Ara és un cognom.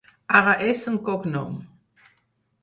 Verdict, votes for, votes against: rejected, 0, 4